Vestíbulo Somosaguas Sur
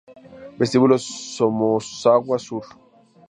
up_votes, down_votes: 2, 2